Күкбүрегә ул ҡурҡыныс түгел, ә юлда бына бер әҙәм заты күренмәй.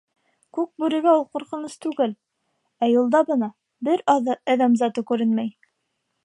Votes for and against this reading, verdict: 2, 3, rejected